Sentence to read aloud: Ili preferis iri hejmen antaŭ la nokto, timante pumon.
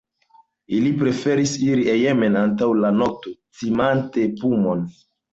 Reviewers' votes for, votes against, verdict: 0, 2, rejected